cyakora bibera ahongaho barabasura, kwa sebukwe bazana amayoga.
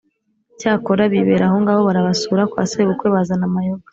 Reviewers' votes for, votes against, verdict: 2, 0, accepted